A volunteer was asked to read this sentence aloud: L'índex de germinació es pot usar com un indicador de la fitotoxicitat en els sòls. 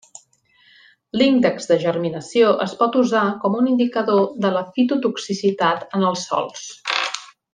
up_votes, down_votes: 3, 1